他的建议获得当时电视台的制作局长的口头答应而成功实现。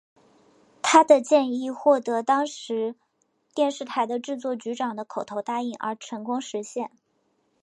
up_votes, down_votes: 8, 0